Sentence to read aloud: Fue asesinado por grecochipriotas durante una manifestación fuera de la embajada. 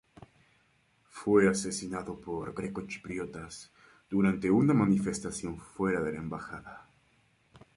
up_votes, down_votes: 4, 0